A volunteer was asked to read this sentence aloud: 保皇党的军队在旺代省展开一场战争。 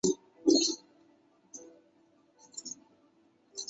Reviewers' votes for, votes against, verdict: 0, 2, rejected